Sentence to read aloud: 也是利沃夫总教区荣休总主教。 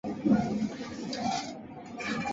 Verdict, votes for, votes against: rejected, 0, 3